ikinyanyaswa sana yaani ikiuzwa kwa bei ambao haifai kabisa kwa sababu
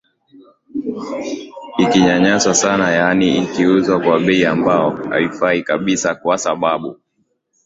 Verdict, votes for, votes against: rejected, 0, 2